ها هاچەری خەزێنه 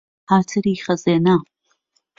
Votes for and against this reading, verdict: 1, 2, rejected